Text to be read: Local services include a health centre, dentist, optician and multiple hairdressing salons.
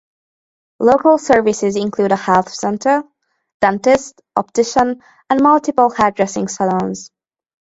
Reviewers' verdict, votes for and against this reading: accepted, 4, 0